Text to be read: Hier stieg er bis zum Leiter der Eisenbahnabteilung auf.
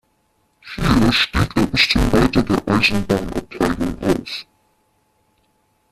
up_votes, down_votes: 0, 2